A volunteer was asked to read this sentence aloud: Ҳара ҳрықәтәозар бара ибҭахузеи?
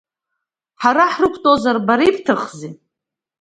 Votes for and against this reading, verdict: 2, 1, accepted